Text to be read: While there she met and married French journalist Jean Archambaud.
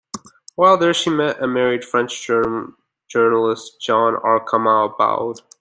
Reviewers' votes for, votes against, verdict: 0, 2, rejected